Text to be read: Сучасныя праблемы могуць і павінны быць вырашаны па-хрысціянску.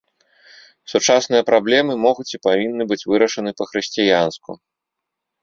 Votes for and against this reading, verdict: 4, 0, accepted